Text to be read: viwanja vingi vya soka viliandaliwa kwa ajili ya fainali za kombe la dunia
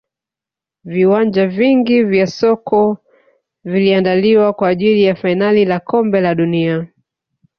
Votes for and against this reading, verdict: 1, 2, rejected